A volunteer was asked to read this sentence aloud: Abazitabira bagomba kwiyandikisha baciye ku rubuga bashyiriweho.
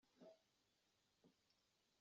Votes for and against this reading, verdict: 0, 2, rejected